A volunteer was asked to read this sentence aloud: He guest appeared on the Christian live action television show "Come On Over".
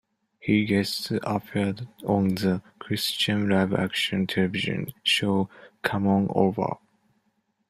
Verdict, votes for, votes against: rejected, 1, 2